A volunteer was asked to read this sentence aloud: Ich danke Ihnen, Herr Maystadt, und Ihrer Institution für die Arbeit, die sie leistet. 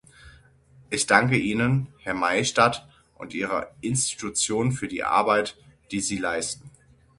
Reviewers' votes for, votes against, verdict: 0, 6, rejected